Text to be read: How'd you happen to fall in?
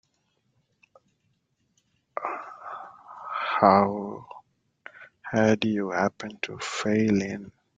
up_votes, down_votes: 0, 3